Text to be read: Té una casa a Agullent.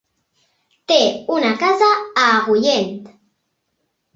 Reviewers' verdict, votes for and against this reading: accepted, 2, 0